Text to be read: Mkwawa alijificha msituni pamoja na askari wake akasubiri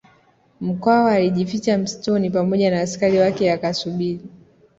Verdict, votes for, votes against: accepted, 2, 0